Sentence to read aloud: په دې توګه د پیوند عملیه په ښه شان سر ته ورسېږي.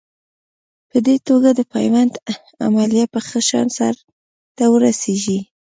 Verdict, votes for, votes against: accepted, 2, 0